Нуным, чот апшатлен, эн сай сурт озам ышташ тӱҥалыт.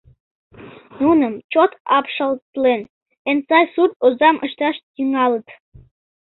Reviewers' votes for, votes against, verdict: 1, 2, rejected